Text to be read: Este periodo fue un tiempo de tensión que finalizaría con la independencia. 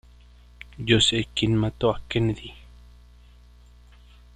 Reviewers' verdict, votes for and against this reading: rejected, 1, 2